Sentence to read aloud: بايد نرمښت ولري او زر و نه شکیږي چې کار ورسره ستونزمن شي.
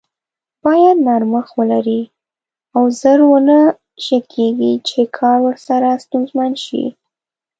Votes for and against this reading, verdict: 2, 0, accepted